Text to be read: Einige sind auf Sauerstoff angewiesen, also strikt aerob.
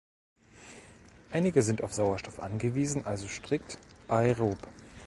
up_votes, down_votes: 1, 2